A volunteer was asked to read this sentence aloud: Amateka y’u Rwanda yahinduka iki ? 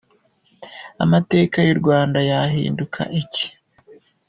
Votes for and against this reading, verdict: 2, 0, accepted